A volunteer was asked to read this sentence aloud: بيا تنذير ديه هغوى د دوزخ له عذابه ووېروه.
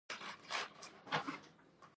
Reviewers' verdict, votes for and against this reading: rejected, 0, 2